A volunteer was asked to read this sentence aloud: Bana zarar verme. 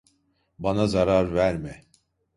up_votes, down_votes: 1, 2